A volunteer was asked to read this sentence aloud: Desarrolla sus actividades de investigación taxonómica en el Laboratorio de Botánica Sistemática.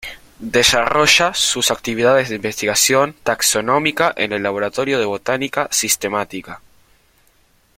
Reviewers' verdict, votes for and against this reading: rejected, 1, 2